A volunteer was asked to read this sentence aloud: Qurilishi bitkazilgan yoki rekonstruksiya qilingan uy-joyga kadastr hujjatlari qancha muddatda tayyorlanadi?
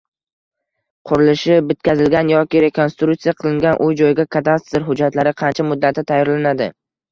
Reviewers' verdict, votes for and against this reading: rejected, 1, 2